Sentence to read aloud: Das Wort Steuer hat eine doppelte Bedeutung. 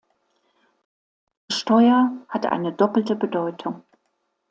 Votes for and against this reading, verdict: 0, 2, rejected